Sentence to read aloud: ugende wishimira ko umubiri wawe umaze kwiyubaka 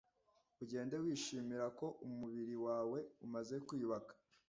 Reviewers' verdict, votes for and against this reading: accepted, 2, 0